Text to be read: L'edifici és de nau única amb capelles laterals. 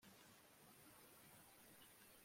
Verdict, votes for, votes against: rejected, 0, 2